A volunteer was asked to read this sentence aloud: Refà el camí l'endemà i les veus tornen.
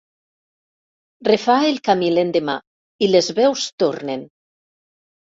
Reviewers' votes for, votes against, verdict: 2, 0, accepted